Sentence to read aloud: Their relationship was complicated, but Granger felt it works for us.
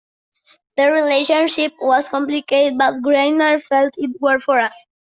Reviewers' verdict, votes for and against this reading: rejected, 0, 2